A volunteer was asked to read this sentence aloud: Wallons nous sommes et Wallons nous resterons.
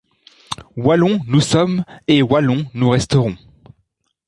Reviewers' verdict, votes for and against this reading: accepted, 2, 0